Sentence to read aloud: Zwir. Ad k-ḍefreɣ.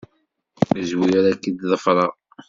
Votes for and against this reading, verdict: 1, 2, rejected